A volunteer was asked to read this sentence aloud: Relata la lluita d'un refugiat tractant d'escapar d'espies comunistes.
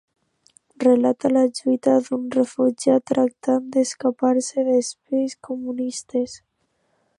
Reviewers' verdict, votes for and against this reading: rejected, 1, 2